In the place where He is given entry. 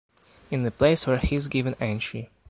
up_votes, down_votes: 0, 2